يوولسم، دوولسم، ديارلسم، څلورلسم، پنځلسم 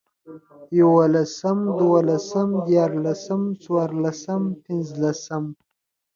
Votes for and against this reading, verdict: 2, 0, accepted